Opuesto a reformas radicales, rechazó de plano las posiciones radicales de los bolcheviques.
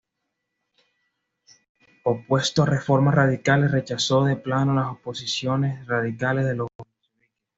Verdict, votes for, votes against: accepted, 2, 0